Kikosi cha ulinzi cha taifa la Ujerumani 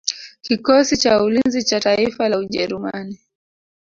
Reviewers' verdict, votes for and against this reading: accepted, 2, 0